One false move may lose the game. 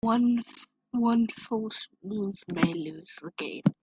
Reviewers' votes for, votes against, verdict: 0, 3, rejected